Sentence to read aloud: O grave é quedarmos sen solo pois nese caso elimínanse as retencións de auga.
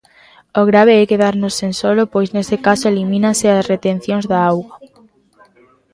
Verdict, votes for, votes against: rejected, 1, 2